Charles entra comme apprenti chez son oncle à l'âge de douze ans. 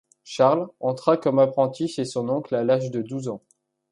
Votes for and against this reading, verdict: 2, 0, accepted